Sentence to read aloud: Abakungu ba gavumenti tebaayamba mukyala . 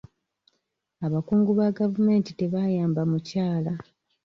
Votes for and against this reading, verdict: 2, 0, accepted